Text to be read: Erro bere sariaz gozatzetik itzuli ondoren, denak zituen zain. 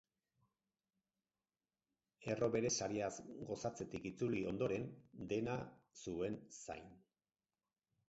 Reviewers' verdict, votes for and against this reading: rejected, 2, 4